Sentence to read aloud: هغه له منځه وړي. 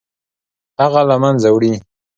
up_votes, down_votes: 2, 0